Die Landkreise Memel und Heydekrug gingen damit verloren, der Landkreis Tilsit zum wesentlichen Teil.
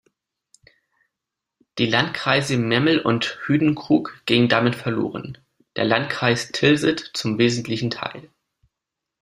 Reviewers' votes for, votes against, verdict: 0, 2, rejected